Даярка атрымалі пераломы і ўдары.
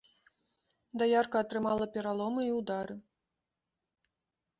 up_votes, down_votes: 2, 0